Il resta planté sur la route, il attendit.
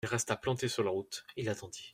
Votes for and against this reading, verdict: 2, 0, accepted